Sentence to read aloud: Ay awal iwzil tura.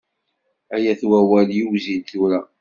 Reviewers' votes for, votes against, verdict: 1, 2, rejected